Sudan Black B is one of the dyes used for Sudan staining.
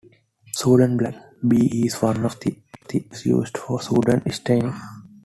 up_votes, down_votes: 2, 0